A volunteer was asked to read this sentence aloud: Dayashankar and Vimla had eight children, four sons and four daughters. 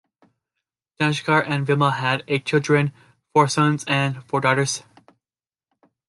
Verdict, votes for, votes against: accepted, 2, 0